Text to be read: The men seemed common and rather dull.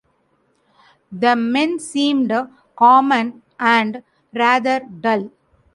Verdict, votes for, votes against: accepted, 2, 0